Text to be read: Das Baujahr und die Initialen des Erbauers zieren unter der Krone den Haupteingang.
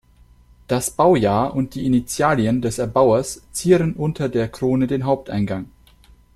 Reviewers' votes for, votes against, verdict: 1, 2, rejected